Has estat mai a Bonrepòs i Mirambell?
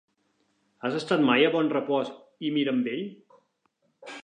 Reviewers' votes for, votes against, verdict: 2, 0, accepted